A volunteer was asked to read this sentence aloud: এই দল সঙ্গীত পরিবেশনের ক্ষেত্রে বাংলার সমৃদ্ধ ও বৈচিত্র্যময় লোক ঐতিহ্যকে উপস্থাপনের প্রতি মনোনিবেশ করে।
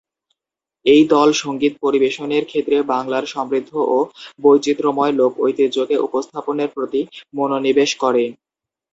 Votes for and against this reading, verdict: 0, 2, rejected